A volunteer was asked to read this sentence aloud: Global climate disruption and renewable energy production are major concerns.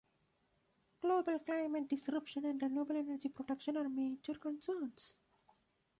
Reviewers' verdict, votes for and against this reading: rejected, 1, 2